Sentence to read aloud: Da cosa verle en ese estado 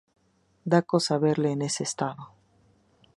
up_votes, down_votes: 2, 0